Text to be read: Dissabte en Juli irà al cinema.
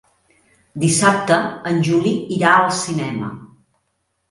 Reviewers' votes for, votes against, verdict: 3, 0, accepted